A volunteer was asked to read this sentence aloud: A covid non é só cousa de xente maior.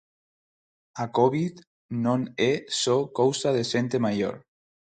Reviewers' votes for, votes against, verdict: 4, 2, accepted